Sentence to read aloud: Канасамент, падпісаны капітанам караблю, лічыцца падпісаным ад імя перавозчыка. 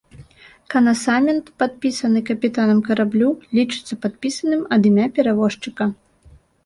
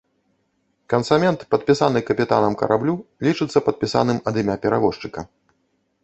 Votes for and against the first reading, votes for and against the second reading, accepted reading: 2, 0, 1, 2, first